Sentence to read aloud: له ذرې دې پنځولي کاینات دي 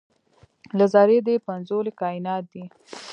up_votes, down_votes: 2, 0